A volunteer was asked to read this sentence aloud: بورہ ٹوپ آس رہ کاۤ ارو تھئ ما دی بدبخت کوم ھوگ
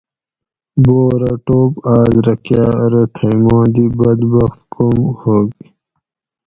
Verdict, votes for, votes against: accepted, 4, 0